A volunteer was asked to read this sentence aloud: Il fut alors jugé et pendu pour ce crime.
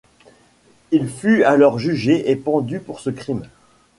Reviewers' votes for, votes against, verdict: 2, 0, accepted